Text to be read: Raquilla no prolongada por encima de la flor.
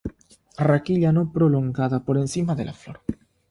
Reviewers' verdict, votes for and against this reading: accepted, 3, 0